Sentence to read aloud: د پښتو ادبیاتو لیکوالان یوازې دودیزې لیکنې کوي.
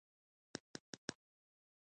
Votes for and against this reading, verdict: 2, 1, accepted